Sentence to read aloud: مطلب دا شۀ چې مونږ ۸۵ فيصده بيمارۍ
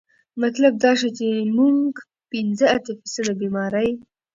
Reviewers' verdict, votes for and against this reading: rejected, 0, 2